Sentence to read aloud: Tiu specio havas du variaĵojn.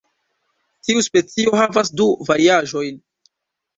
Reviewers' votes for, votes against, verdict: 2, 0, accepted